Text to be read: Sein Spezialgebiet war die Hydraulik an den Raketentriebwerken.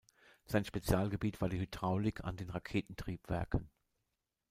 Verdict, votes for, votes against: rejected, 1, 2